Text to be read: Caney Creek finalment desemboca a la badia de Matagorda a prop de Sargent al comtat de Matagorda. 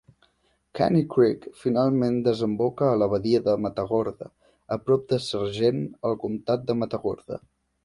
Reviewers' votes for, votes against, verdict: 2, 0, accepted